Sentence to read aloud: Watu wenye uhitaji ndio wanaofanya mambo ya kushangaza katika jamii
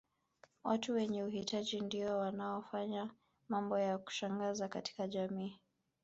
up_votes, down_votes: 3, 2